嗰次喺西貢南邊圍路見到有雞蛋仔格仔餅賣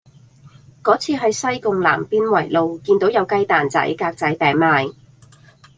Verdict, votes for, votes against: accepted, 2, 0